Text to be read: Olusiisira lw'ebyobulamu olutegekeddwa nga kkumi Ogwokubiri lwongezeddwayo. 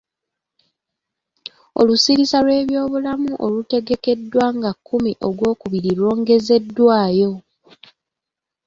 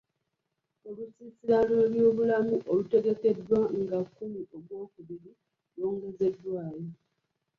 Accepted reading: second